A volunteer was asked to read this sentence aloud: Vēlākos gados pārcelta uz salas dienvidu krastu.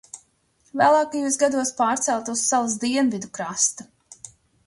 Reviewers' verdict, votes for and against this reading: rejected, 1, 2